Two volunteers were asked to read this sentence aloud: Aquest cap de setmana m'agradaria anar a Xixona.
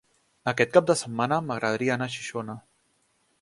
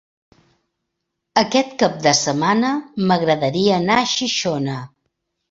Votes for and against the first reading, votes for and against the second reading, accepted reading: 1, 2, 3, 0, second